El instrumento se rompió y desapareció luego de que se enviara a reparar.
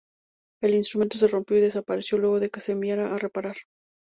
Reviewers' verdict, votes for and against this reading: accepted, 2, 0